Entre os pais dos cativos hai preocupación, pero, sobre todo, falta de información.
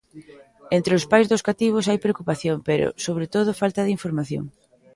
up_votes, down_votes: 2, 0